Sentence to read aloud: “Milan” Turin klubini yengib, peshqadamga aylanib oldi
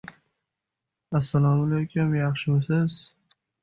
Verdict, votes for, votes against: rejected, 0, 2